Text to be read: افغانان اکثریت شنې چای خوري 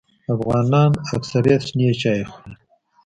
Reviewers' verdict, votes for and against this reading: rejected, 1, 2